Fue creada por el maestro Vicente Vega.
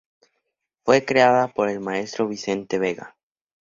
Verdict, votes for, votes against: accepted, 2, 0